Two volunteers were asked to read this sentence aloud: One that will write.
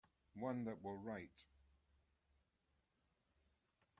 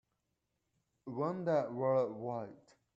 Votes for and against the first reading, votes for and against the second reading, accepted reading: 2, 0, 1, 2, first